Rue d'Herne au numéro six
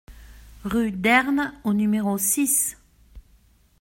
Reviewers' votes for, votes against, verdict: 2, 0, accepted